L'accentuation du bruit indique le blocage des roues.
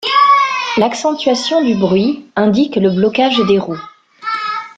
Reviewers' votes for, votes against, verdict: 2, 0, accepted